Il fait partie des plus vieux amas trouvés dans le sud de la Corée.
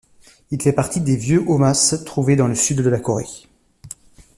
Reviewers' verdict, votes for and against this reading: rejected, 0, 2